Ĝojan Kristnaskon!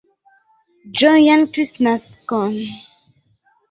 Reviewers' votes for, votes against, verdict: 2, 1, accepted